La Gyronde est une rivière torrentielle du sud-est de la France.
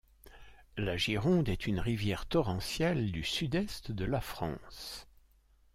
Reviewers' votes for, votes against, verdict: 2, 0, accepted